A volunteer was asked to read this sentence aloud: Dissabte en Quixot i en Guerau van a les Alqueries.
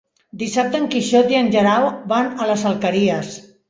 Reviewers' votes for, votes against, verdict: 2, 3, rejected